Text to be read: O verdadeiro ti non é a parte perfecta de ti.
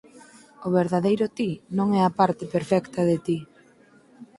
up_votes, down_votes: 4, 0